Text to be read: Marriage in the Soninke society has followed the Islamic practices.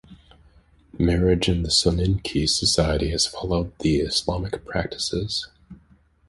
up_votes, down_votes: 2, 0